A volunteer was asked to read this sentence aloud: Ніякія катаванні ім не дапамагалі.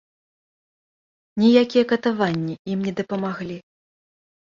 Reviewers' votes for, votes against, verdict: 2, 0, accepted